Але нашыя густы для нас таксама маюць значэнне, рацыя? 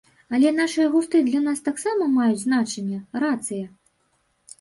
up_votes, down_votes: 1, 2